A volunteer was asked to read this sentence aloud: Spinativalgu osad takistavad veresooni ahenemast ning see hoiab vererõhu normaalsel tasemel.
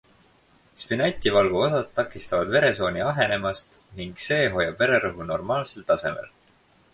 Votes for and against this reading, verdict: 4, 2, accepted